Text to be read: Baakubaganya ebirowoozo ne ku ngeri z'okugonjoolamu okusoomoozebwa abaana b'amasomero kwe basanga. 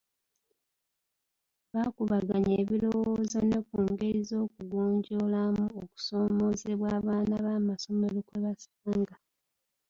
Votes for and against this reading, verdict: 2, 0, accepted